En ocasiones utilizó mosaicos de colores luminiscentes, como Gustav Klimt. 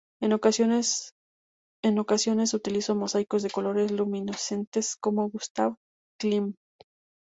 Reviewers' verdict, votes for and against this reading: rejected, 0, 2